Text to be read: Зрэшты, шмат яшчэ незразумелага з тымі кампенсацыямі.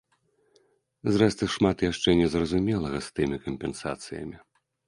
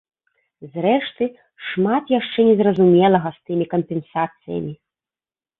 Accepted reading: second